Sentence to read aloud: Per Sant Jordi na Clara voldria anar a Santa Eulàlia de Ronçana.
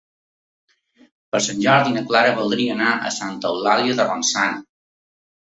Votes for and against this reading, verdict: 2, 0, accepted